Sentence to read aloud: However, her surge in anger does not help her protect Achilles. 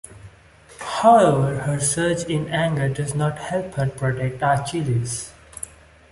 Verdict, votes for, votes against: accepted, 2, 0